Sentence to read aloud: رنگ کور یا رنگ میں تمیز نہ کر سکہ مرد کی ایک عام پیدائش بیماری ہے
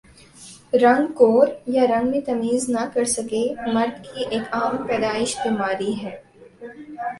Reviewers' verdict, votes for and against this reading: accepted, 2, 0